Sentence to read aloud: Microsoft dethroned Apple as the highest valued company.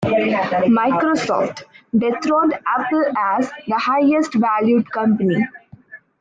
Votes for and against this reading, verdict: 1, 2, rejected